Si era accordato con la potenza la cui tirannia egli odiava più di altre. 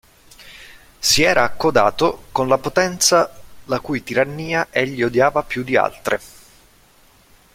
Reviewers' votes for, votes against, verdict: 0, 2, rejected